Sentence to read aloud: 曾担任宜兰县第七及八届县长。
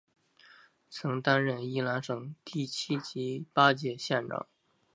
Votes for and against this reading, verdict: 2, 1, accepted